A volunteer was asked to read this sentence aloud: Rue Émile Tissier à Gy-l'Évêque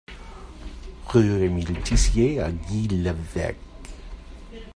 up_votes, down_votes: 1, 2